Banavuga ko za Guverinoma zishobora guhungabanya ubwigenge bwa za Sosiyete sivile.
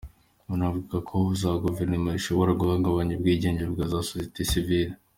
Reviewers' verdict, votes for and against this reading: accepted, 2, 1